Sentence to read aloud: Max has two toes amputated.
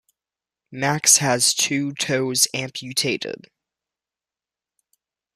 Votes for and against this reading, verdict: 2, 0, accepted